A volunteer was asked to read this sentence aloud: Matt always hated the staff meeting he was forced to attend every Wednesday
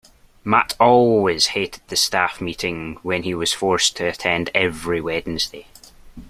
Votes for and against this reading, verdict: 0, 2, rejected